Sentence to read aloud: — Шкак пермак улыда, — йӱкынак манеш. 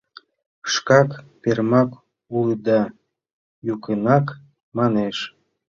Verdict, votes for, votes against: rejected, 1, 2